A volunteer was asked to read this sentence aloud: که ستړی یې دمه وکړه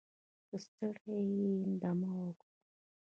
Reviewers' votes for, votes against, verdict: 1, 2, rejected